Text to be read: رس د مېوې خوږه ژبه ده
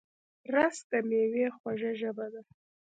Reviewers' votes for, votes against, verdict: 1, 2, rejected